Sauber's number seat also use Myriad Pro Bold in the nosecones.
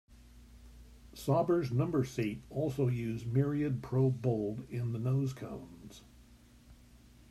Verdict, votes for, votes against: rejected, 1, 2